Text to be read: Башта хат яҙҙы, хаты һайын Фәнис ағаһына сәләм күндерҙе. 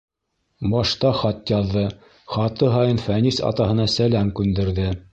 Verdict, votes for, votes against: rejected, 1, 2